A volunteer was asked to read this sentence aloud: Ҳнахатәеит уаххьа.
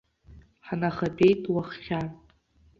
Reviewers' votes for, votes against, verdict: 2, 1, accepted